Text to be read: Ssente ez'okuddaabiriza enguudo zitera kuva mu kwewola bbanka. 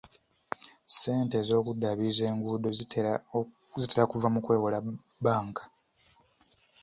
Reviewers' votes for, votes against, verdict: 2, 0, accepted